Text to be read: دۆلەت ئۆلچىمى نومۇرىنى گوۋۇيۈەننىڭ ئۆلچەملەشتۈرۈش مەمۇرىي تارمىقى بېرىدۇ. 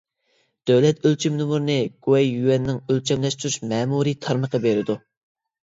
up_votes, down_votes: 2, 1